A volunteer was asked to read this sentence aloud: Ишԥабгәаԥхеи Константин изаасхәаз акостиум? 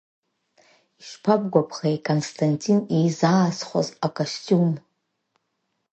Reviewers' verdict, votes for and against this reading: accepted, 2, 1